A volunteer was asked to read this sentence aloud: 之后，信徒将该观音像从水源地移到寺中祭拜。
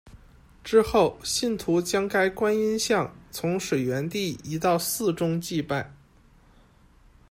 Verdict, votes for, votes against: accepted, 2, 0